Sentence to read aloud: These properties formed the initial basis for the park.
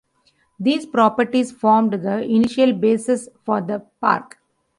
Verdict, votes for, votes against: accepted, 2, 0